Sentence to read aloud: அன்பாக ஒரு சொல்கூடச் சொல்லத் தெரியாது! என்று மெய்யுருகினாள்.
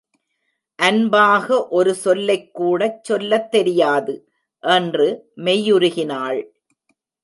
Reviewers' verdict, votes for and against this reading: rejected, 0, 2